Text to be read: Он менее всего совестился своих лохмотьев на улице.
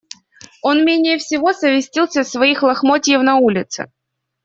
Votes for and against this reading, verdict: 0, 2, rejected